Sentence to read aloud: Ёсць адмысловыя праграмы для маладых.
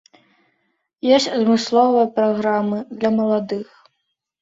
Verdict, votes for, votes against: accepted, 2, 0